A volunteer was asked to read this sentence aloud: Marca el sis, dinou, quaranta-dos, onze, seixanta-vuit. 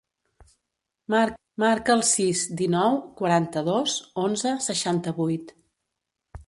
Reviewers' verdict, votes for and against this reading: rejected, 0, 2